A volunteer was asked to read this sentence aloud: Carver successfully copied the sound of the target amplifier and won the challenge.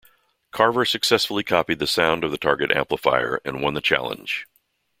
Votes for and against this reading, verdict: 2, 0, accepted